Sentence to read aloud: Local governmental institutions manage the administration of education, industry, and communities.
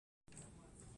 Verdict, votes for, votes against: rejected, 0, 2